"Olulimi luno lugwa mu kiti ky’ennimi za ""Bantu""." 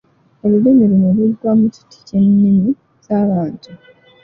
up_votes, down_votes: 2, 0